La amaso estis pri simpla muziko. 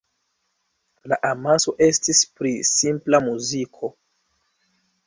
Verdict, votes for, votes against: accepted, 2, 0